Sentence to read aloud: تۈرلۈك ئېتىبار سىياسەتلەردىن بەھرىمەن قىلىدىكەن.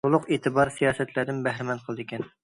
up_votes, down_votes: 0, 2